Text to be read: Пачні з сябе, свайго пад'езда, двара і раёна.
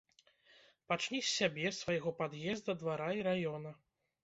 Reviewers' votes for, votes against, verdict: 2, 0, accepted